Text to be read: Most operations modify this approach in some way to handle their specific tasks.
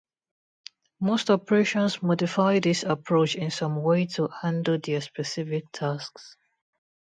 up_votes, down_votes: 2, 0